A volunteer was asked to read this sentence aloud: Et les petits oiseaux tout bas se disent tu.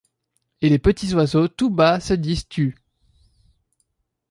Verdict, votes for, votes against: accepted, 2, 0